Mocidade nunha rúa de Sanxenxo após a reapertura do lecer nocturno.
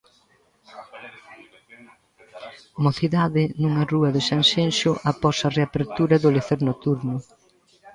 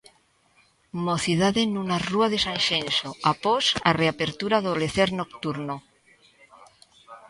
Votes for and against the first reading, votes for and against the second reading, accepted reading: 1, 2, 2, 0, second